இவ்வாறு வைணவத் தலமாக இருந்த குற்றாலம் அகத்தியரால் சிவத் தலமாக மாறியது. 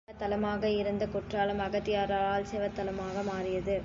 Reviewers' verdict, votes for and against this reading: rejected, 0, 2